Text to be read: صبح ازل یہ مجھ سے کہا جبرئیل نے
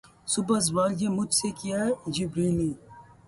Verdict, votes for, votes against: rejected, 0, 2